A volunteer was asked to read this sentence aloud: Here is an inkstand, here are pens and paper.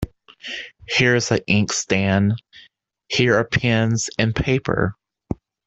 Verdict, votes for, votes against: rejected, 1, 2